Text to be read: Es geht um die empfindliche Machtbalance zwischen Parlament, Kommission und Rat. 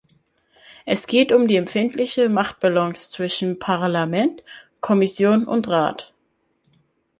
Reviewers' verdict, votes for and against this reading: accepted, 2, 0